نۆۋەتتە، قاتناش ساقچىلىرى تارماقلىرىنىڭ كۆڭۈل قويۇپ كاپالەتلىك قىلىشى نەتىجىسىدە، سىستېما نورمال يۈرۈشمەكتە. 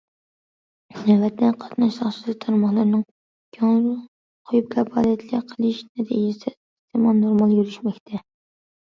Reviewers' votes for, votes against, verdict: 0, 2, rejected